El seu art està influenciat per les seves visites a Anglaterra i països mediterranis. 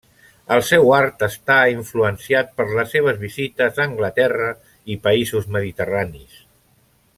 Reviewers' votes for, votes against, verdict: 3, 0, accepted